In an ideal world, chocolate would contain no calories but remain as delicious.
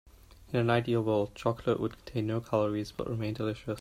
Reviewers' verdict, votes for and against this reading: rejected, 1, 2